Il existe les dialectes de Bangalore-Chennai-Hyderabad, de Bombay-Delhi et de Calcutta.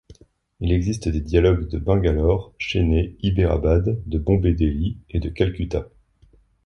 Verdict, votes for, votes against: rejected, 1, 2